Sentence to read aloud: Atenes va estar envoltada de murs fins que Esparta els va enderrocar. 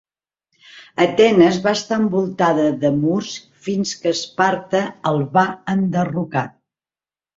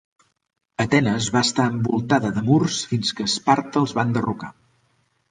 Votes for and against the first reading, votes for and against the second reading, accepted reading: 0, 2, 3, 0, second